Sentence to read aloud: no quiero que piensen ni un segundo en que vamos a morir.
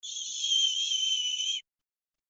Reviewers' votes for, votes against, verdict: 0, 2, rejected